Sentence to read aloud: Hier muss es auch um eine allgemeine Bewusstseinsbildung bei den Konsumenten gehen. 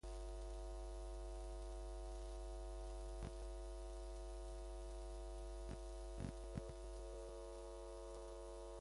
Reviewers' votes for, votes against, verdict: 0, 2, rejected